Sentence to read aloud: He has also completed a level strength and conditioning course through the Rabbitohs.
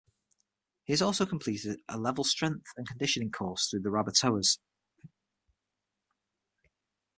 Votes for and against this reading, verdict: 6, 0, accepted